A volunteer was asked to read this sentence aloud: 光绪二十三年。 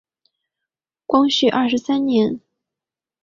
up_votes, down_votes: 3, 0